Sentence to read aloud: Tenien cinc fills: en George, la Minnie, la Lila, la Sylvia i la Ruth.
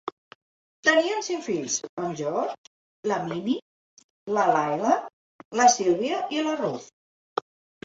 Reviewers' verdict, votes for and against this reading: rejected, 0, 2